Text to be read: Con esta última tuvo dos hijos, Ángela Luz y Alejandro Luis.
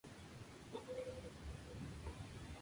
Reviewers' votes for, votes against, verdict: 0, 4, rejected